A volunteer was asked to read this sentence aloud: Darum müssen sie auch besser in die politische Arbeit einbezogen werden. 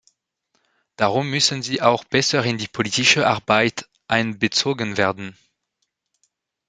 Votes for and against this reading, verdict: 1, 2, rejected